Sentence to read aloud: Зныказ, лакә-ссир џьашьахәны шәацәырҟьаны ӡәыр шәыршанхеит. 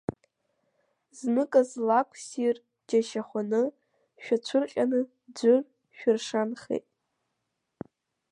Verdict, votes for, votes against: accepted, 2, 1